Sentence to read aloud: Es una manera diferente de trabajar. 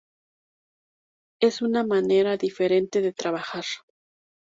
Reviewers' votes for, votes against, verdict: 2, 0, accepted